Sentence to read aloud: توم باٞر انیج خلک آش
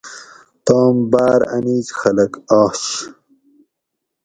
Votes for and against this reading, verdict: 4, 0, accepted